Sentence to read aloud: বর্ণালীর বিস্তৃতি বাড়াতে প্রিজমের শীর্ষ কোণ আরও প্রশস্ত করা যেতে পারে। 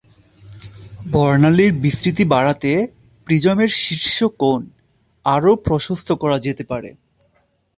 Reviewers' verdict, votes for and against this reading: rejected, 0, 2